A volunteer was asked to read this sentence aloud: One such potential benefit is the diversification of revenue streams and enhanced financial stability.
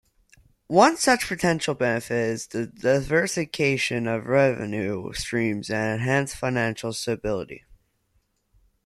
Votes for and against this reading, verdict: 2, 0, accepted